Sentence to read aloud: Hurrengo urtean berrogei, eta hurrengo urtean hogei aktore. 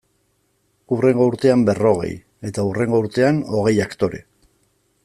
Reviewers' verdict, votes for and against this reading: accepted, 2, 0